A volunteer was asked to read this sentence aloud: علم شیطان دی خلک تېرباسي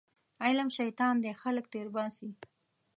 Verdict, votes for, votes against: accepted, 2, 0